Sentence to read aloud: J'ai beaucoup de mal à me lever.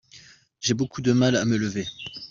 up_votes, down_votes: 2, 0